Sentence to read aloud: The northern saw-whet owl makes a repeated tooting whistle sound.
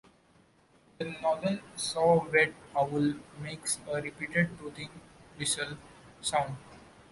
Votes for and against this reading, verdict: 2, 0, accepted